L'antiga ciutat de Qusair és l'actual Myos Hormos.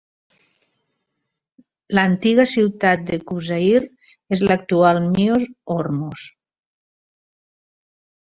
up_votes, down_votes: 1, 2